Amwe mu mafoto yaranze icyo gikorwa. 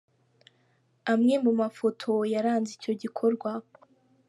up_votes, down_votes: 2, 0